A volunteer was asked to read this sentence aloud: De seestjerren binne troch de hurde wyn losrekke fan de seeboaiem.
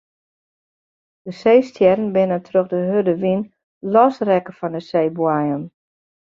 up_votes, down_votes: 2, 0